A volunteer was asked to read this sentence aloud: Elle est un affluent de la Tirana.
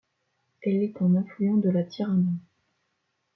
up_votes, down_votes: 2, 1